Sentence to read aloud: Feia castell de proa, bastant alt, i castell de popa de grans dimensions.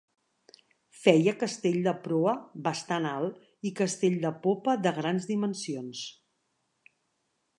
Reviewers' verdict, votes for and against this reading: accepted, 3, 0